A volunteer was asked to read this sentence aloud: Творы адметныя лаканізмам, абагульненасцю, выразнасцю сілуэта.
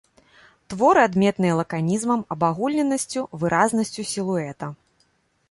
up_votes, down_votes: 2, 0